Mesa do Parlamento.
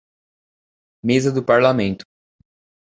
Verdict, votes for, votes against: accepted, 2, 0